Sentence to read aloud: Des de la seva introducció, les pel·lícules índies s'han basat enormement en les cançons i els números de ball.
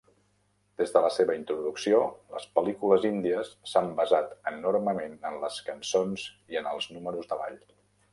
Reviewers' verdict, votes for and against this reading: rejected, 0, 2